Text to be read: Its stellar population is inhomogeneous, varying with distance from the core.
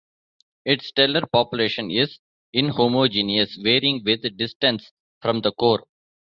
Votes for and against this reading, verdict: 3, 0, accepted